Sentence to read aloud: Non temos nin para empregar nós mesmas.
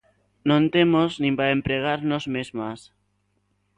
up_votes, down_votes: 3, 0